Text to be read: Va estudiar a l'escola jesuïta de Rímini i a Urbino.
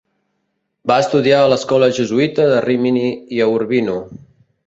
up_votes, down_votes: 2, 0